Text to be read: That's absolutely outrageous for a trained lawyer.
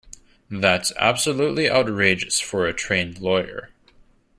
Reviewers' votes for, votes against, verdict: 2, 0, accepted